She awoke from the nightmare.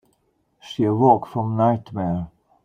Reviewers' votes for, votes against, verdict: 1, 2, rejected